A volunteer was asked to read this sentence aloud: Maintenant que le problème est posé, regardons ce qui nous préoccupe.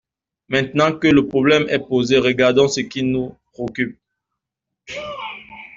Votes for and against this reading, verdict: 0, 2, rejected